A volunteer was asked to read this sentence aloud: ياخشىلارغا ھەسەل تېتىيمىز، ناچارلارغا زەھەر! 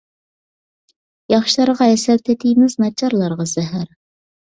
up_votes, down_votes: 2, 0